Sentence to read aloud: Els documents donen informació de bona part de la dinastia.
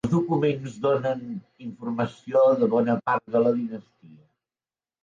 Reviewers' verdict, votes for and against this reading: rejected, 0, 2